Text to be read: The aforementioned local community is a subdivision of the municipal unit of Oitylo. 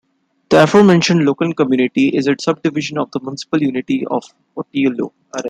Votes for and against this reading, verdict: 0, 2, rejected